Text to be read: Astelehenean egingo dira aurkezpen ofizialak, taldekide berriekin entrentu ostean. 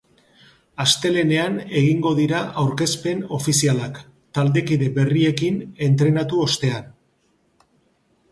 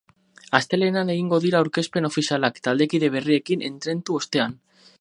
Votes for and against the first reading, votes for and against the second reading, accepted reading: 3, 0, 0, 4, first